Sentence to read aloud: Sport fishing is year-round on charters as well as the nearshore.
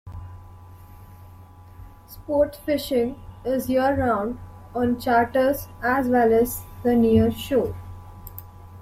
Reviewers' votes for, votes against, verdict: 2, 0, accepted